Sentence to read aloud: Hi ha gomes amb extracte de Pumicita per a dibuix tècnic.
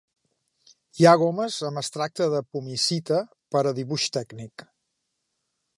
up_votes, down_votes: 2, 0